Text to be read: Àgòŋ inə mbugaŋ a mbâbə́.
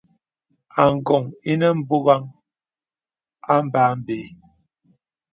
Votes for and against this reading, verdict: 2, 0, accepted